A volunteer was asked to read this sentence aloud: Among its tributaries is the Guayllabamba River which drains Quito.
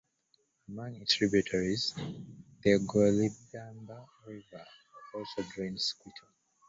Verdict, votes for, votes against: rejected, 0, 2